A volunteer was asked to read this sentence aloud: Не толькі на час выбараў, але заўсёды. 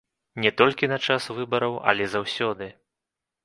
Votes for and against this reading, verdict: 1, 2, rejected